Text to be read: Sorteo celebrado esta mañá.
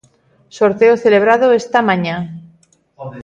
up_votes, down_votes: 1, 2